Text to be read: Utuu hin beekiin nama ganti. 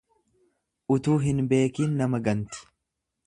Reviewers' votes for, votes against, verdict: 2, 0, accepted